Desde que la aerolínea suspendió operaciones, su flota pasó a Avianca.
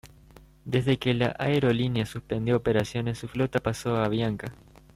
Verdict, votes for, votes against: rejected, 1, 2